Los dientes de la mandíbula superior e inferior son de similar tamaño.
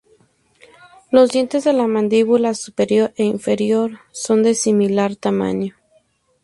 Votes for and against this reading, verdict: 2, 0, accepted